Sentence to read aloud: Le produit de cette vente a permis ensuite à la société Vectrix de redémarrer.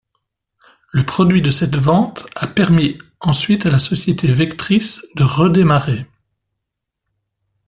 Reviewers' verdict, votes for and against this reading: accepted, 2, 1